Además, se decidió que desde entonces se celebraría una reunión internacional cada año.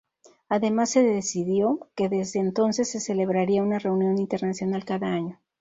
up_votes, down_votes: 0, 2